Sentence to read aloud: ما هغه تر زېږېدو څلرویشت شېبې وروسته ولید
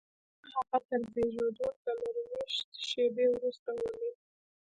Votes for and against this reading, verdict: 1, 2, rejected